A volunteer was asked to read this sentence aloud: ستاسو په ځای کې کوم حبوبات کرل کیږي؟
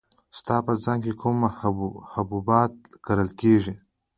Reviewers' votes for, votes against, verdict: 1, 2, rejected